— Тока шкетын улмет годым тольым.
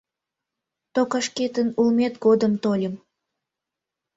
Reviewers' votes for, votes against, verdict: 1, 2, rejected